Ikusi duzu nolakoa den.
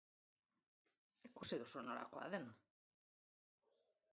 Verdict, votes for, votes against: accepted, 2, 0